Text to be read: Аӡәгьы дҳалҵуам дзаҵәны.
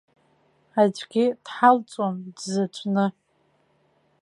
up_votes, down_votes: 1, 2